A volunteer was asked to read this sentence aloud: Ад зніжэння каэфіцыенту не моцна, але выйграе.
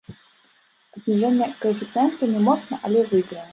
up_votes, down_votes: 0, 2